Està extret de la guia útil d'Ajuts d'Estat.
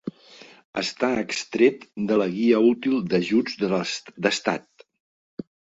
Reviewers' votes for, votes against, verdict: 2, 3, rejected